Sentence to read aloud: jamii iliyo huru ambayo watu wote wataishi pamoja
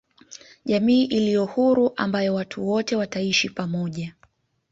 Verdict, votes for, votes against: accepted, 2, 0